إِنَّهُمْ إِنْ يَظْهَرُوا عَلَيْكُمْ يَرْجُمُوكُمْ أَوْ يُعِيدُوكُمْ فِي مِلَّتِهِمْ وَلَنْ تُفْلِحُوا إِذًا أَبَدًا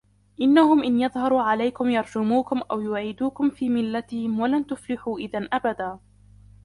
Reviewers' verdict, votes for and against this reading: accepted, 2, 0